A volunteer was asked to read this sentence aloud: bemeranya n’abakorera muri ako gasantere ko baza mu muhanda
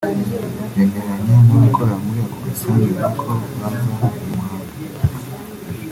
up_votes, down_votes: 0, 2